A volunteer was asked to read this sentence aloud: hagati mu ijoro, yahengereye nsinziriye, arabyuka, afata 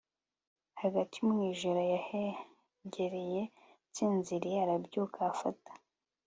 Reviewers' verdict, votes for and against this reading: accepted, 3, 0